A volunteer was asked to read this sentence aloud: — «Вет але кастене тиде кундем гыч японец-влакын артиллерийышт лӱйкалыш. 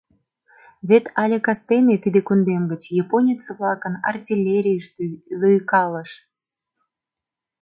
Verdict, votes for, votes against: rejected, 0, 2